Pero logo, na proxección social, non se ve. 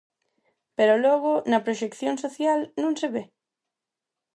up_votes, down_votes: 4, 0